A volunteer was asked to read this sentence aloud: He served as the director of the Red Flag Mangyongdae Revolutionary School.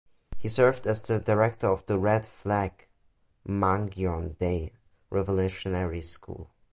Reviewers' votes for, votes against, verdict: 2, 0, accepted